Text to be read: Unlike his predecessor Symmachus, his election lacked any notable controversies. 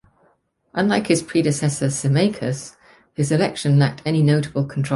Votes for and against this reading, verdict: 0, 2, rejected